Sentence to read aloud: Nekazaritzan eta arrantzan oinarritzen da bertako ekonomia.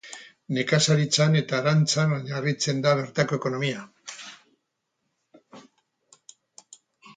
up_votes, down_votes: 2, 2